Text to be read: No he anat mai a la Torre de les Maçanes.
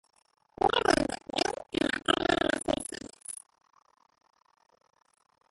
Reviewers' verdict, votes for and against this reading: rejected, 0, 2